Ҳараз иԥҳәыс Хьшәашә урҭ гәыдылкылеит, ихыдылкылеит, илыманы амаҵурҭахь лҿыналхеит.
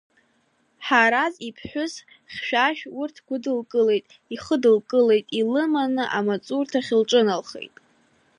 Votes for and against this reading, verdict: 2, 0, accepted